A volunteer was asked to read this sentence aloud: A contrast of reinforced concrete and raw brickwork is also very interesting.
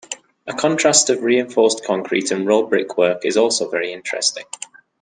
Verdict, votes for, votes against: accepted, 2, 0